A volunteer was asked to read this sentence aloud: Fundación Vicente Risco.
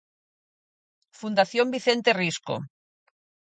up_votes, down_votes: 4, 0